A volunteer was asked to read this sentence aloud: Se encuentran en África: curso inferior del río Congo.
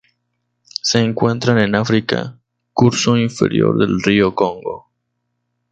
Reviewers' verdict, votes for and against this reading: accepted, 2, 0